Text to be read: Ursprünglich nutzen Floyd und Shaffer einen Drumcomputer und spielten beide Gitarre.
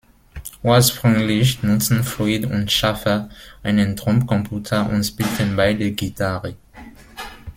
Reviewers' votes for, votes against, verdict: 0, 2, rejected